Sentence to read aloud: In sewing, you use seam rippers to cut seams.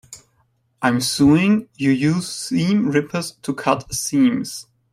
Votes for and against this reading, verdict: 0, 2, rejected